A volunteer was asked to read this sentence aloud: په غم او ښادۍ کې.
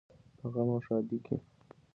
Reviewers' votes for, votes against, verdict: 2, 0, accepted